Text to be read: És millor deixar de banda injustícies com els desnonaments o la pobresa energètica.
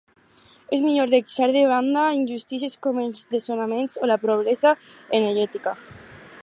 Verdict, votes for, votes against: rejected, 2, 2